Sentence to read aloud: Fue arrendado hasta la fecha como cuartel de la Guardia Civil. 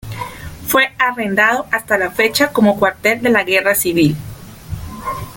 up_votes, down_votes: 0, 2